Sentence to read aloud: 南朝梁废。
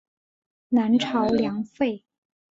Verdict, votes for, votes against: accepted, 3, 0